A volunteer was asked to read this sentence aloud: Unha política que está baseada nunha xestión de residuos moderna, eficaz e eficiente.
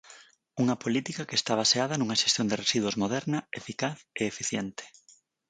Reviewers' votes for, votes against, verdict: 4, 0, accepted